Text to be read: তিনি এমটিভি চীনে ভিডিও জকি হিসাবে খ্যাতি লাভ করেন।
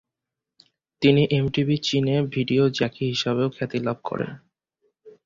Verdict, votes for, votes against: rejected, 2, 2